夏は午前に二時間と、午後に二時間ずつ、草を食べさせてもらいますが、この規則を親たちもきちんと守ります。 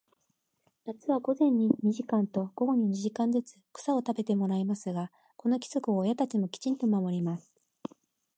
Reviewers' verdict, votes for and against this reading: accepted, 2, 0